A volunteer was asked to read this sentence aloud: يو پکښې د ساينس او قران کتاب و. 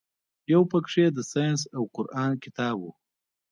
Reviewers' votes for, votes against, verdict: 2, 1, accepted